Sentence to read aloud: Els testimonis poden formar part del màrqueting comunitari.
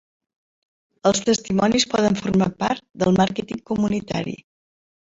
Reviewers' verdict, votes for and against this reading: rejected, 0, 2